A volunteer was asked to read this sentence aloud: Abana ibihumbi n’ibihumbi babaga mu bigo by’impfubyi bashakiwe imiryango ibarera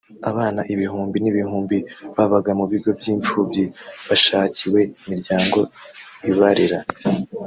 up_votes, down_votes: 1, 2